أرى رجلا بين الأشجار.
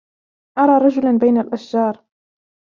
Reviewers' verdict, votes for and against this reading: rejected, 0, 2